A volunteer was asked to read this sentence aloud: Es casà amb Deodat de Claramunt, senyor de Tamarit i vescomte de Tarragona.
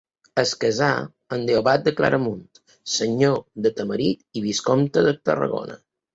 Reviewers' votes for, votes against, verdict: 1, 2, rejected